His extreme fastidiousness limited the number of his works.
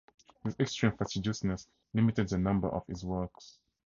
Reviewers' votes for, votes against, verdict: 0, 4, rejected